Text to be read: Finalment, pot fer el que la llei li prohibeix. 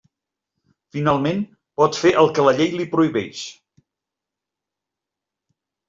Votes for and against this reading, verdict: 3, 0, accepted